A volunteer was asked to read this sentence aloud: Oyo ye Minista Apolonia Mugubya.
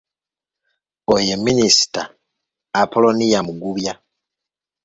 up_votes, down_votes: 2, 0